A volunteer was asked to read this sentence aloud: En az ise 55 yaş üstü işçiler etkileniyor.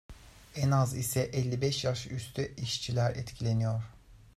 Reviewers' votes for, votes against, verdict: 0, 2, rejected